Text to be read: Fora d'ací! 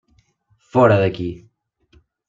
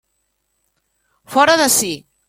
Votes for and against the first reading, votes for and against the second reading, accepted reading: 0, 2, 2, 0, second